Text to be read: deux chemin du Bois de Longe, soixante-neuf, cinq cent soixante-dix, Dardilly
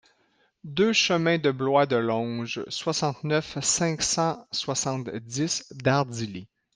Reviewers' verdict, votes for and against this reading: rejected, 0, 2